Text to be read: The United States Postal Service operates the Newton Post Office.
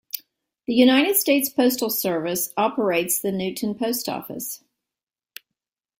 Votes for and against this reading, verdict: 2, 0, accepted